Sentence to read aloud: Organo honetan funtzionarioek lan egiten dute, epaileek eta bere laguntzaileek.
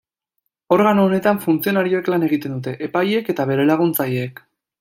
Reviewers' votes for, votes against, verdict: 2, 0, accepted